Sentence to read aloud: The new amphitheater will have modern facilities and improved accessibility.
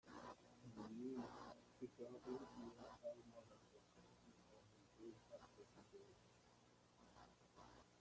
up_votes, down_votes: 0, 2